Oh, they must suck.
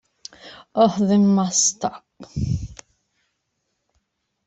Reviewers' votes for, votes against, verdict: 2, 1, accepted